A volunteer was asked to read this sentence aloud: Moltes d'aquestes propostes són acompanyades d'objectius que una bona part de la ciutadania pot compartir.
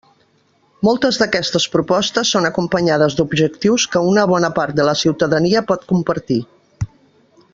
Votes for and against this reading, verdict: 3, 0, accepted